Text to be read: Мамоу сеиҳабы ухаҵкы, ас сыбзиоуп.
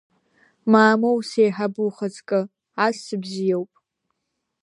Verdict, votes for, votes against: accepted, 2, 0